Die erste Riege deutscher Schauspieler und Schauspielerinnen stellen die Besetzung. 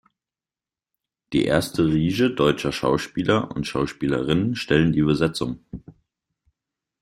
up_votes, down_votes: 0, 2